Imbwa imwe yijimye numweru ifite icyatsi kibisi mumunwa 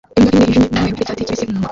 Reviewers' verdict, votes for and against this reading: rejected, 0, 2